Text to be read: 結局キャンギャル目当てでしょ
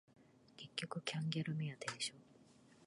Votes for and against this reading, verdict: 2, 0, accepted